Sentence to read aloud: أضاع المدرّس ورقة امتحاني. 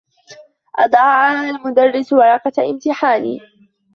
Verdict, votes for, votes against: accepted, 2, 0